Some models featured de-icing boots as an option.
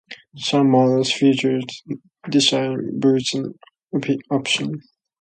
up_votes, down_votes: 0, 2